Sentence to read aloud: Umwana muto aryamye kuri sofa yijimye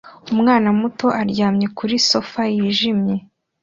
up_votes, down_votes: 2, 0